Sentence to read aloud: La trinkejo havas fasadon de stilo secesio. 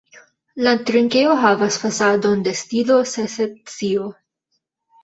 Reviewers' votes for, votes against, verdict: 1, 2, rejected